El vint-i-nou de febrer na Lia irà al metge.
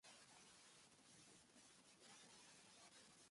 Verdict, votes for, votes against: rejected, 1, 2